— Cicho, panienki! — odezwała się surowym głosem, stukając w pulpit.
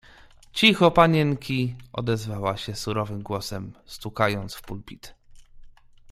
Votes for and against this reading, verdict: 2, 0, accepted